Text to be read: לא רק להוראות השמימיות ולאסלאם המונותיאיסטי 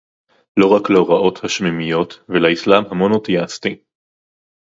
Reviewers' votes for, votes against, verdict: 0, 2, rejected